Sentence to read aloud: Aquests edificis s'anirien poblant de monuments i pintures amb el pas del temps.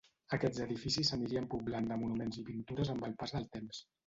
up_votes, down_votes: 0, 2